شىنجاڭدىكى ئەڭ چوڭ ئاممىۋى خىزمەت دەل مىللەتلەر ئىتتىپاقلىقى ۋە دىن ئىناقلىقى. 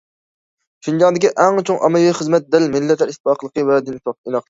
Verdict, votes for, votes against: rejected, 0, 2